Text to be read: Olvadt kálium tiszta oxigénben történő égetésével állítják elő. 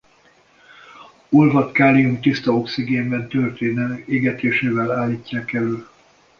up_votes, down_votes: 1, 2